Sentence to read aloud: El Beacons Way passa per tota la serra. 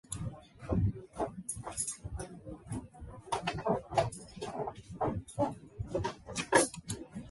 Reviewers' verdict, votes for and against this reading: rejected, 0, 2